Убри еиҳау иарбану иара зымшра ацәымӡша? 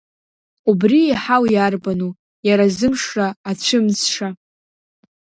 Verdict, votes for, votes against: accepted, 2, 0